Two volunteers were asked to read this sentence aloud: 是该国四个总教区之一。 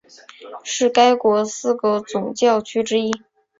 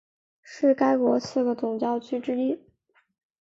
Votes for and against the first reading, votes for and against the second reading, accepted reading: 0, 2, 3, 0, second